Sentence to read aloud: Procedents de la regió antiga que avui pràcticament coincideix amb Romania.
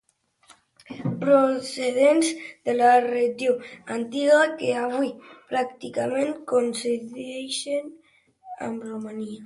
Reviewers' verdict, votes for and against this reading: rejected, 0, 3